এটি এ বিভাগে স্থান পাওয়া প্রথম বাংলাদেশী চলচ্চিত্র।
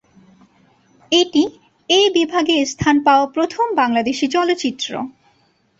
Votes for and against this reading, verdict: 16, 1, accepted